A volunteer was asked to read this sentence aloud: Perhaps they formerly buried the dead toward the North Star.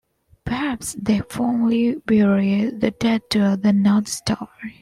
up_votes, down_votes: 2, 1